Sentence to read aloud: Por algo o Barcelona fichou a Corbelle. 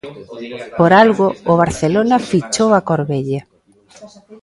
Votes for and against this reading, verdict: 2, 0, accepted